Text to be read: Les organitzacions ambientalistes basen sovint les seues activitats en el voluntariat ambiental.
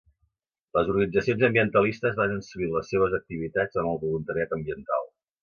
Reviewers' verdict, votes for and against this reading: accepted, 2, 0